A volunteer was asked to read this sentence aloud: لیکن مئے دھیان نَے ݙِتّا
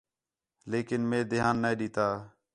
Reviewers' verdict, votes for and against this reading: accepted, 4, 0